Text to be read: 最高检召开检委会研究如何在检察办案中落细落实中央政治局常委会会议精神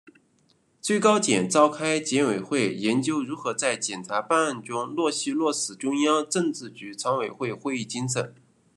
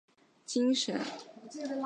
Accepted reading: first